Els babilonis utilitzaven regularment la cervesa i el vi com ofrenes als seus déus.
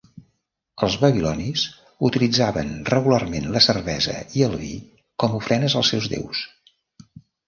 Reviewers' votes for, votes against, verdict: 3, 1, accepted